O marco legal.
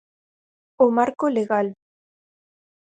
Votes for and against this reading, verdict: 4, 0, accepted